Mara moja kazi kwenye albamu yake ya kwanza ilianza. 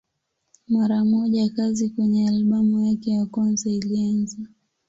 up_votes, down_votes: 10, 1